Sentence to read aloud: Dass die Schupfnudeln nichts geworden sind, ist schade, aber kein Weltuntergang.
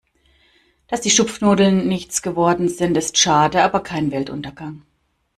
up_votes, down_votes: 2, 0